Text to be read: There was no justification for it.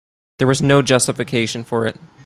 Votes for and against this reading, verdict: 2, 0, accepted